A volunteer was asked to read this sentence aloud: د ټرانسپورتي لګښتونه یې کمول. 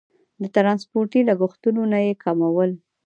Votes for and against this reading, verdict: 2, 0, accepted